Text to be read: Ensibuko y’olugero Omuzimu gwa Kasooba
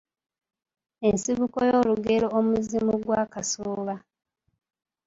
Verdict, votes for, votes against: rejected, 0, 2